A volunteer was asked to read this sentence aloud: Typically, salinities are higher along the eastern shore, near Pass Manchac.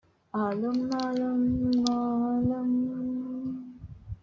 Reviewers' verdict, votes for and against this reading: rejected, 0, 2